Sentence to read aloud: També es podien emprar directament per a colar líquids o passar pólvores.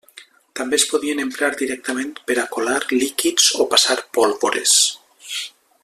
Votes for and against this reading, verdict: 2, 0, accepted